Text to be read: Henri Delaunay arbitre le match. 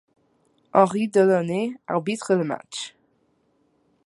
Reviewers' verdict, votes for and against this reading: accepted, 2, 0